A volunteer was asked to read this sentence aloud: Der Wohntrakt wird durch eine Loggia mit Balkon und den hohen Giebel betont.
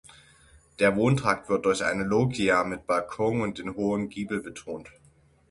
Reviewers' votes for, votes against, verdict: 0, 6, rejected